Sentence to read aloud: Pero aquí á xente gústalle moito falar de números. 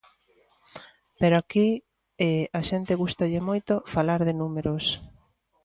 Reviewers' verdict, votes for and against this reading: rejected, 0, 2